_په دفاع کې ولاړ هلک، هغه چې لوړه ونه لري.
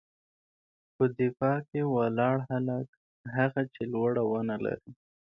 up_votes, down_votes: 2, 0